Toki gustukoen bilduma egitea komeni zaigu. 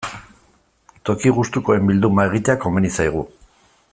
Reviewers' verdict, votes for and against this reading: accepted, 2, 0